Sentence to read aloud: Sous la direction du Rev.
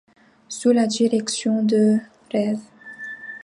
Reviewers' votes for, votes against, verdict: 0, 2, rejected